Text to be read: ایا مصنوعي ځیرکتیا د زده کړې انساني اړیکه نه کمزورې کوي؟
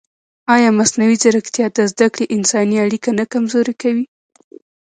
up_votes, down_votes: 1, 2